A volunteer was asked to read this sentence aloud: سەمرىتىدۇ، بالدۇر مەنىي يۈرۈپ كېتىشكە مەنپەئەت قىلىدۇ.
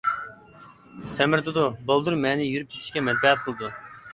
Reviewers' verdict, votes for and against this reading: accepted, 2, 1